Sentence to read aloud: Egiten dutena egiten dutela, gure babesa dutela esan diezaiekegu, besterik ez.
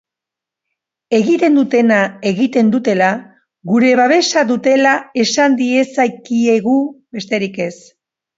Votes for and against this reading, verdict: 0, 2, rejected